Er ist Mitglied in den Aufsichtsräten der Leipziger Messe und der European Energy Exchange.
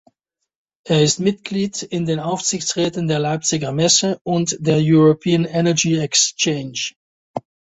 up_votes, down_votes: 2, 0